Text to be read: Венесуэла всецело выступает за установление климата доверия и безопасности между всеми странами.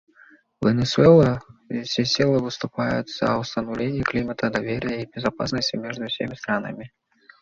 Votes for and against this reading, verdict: 1, 2, rejected